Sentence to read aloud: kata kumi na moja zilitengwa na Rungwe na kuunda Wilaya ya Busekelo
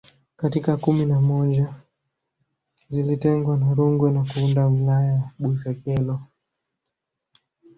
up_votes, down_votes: 0, 2